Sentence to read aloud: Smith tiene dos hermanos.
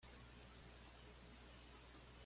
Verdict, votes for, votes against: rejected, 1, 2